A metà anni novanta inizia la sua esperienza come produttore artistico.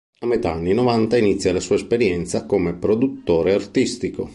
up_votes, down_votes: 2, 0